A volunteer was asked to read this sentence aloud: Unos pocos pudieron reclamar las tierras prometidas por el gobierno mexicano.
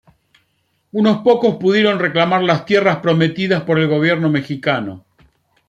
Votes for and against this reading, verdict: 2, 0, accepted